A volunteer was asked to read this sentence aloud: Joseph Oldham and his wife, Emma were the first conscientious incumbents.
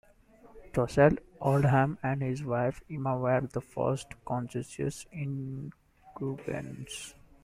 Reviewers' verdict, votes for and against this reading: rejected, 0, 2